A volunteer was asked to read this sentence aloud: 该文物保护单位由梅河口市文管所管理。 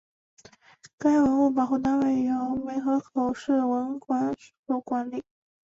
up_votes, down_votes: 1, 2